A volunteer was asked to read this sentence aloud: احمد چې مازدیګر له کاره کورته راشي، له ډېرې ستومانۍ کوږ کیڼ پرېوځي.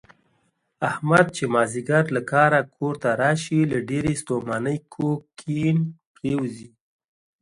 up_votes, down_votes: 2, 0